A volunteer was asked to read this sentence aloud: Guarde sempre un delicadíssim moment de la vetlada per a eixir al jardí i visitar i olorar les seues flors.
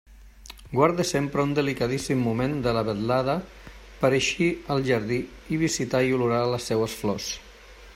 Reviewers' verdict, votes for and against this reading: accepted, 2, 0